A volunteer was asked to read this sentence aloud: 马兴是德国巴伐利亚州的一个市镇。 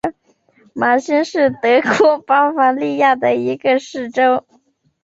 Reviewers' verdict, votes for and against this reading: rejected, 1, 2